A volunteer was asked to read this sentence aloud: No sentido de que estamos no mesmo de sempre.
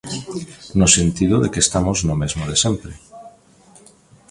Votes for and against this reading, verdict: 0, 2, rejected